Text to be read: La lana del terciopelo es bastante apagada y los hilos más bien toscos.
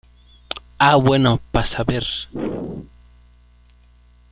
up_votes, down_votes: 0, 2